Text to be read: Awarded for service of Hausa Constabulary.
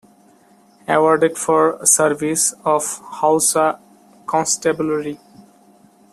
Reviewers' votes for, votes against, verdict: 2, 0, accepted